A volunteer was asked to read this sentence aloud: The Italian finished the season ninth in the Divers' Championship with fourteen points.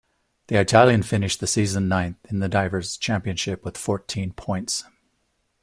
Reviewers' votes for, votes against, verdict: 2, 0, accepted